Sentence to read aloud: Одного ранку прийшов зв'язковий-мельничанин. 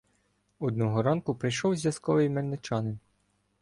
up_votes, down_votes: 2, 0